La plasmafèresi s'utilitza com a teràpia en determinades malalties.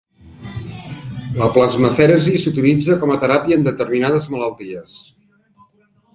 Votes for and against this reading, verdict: 2, 0, accepted